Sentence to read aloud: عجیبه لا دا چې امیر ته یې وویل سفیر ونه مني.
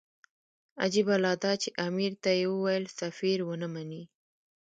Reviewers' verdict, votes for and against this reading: rejected, 0, 2